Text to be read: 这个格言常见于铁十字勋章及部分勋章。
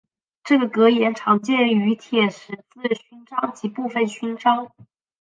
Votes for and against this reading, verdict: 1, 2, rejected